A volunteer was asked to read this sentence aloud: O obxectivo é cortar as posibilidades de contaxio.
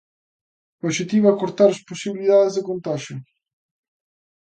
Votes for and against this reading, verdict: 2, 0, accepted